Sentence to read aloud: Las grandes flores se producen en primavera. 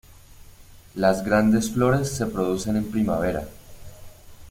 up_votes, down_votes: 2, 0